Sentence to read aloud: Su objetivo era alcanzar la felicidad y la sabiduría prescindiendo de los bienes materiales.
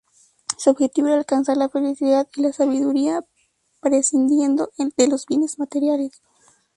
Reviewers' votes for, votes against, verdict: 0, 2, rejected